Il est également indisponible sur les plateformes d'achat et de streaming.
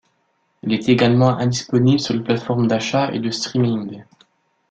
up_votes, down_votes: 2, 0